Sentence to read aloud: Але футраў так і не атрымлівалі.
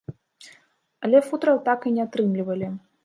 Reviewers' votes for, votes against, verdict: 2, 0, accepted